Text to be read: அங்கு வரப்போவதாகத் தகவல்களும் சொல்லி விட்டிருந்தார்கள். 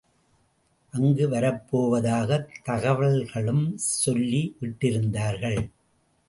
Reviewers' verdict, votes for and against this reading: accepted, 2, 0